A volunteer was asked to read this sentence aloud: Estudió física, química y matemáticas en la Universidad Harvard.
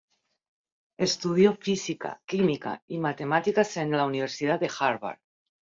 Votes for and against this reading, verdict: 1, 2, rejected